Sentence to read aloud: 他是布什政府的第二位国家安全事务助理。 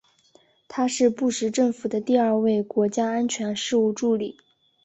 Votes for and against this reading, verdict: 1, 2, rejected